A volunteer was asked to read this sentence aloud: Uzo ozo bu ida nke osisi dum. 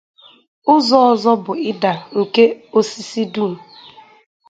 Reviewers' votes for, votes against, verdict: 2, 0, accepted